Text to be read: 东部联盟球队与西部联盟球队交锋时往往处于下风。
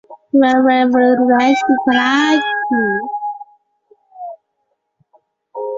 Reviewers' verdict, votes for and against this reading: rejected, 0, 2